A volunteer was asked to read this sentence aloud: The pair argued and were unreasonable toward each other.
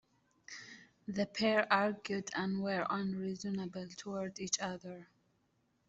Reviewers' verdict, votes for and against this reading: rejected, 1, 3